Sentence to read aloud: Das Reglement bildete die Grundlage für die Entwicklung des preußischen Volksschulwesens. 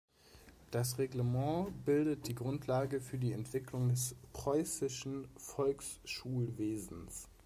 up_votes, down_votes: 2, 0